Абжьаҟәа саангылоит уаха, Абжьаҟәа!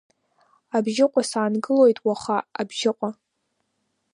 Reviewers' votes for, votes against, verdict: 1, 3, rejected